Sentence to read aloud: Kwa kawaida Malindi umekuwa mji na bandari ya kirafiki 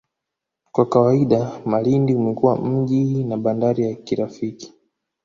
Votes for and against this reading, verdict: 2, 0, accepted